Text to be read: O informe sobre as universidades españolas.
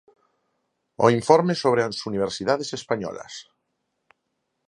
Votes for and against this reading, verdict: 4, 0, accepted